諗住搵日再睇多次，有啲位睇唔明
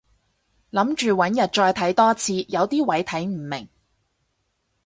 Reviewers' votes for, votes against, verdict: 4, 0, accepted